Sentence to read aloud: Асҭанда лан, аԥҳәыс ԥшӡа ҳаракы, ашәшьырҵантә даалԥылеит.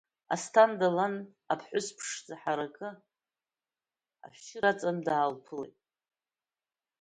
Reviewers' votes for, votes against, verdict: 1, 2, rejected